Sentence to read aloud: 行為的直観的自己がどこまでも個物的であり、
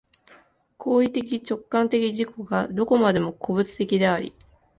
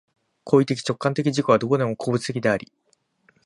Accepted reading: first